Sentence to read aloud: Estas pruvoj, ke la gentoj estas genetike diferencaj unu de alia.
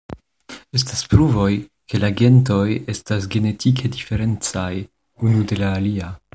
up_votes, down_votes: 0, 2